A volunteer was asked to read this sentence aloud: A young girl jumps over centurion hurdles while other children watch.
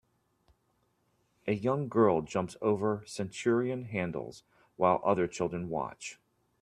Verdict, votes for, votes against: rejected, 0, 2